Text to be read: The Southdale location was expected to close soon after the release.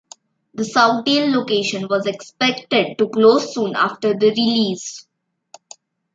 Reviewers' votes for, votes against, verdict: 2, 1, accepted